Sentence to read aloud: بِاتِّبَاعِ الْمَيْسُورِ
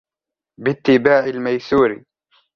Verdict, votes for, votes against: accepted, 2, 1